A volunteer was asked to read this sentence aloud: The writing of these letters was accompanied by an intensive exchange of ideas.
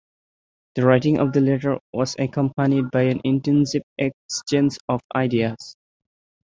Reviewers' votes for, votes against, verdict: 0, 2, rejected